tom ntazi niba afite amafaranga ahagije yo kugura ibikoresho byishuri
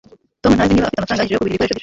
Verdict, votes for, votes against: rejected, 1, 2